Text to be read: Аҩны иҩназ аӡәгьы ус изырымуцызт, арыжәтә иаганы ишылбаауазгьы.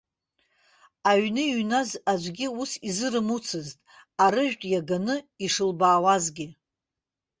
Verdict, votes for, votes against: accepted, 2, 0